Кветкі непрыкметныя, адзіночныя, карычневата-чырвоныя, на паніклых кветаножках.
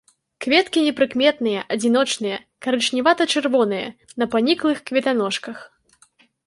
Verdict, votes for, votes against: accepted, 2, 0